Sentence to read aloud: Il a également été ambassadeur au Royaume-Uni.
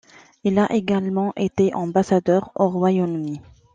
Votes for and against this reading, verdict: 2, 0, accepted